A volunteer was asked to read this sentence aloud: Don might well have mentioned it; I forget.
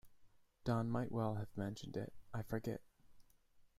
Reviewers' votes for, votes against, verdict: 2, 0, accepted